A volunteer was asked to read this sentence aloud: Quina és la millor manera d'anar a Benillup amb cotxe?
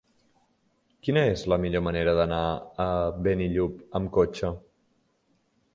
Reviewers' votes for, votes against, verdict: 3, 0, accepted